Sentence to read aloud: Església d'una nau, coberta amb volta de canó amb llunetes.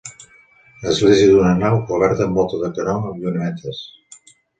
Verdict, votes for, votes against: accepted, 3, 2